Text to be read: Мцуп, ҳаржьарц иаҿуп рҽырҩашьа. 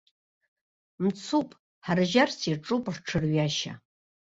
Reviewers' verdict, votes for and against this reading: rejected, 0, 2